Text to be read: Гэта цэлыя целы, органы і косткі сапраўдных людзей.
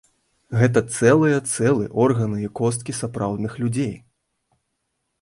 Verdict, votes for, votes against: rejected, 1, 2